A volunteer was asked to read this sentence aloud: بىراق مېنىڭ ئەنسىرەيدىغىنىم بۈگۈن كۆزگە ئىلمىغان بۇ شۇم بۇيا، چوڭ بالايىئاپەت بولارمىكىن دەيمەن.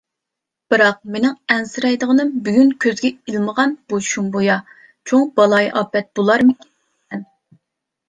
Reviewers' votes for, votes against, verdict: 1, 2, rejected